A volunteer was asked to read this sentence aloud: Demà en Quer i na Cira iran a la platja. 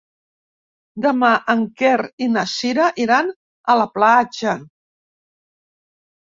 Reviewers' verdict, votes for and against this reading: rejected, 1, 2